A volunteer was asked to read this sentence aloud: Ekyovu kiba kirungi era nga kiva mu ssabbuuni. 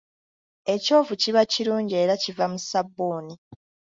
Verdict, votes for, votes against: rejected, 1, 2